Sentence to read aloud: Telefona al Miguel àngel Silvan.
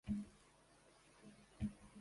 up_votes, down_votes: 0, 2